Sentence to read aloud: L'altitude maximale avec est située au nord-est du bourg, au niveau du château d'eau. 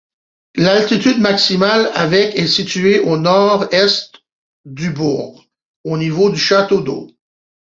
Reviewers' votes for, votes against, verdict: 2, 1, accepted